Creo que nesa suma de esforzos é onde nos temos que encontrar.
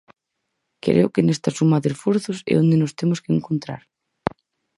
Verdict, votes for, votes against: rejected, 0, 4